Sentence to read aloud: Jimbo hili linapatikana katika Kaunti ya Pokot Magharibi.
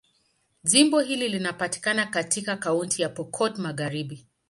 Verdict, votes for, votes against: accepted, 2, 0